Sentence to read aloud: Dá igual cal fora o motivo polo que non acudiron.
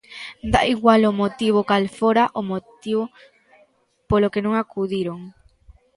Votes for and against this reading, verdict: 0, 2, rejected